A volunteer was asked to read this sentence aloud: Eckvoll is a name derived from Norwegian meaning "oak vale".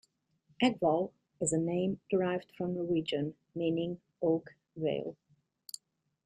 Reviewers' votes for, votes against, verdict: 2, 0, accepted